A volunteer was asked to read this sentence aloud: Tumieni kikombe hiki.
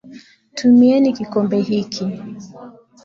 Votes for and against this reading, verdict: 2, 0, accepted